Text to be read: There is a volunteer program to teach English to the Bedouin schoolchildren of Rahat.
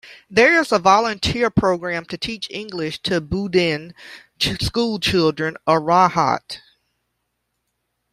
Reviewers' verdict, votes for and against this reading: rejected, 0, 2